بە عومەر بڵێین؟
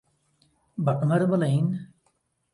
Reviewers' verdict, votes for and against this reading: accepted, 2, 0